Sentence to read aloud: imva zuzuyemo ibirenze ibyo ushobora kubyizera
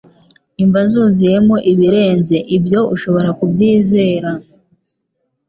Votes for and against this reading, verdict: 3, 0, accepted